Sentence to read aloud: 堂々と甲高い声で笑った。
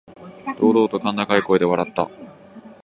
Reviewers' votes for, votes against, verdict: 1, 2, rejected